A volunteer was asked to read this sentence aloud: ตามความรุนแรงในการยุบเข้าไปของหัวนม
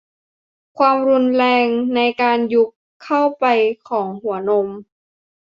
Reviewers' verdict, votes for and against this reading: rejected, 0, 2